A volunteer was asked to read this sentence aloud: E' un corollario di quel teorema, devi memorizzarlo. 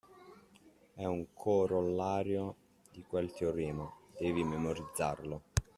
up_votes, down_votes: 2, 0